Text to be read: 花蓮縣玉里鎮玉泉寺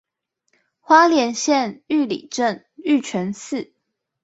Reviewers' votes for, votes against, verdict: 4, 0, accepted